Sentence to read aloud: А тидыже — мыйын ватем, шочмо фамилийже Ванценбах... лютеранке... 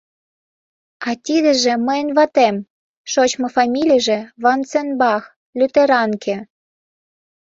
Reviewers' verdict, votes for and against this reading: accepted, 2, 0